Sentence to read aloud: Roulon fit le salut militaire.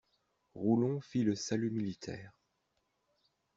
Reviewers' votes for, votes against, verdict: 2, 0, accepted